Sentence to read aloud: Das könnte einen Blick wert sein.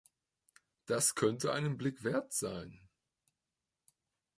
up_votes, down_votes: 2, 0